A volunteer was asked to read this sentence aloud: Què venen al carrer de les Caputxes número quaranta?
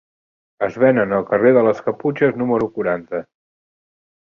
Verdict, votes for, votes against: rejected, 0, 2